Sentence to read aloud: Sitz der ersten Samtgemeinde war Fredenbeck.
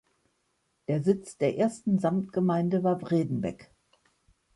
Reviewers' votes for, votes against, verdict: 1, 2, rejected